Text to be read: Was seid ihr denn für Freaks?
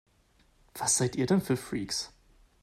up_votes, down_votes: 2, 0